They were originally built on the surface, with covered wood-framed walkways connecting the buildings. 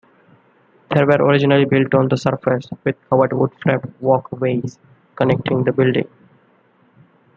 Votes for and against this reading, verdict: 2, 1, accepted